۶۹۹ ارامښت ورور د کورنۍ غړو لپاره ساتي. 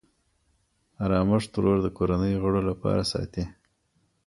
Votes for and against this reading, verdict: 0, 2, rejected